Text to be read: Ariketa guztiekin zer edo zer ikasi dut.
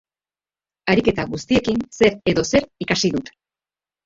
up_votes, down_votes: 1, 2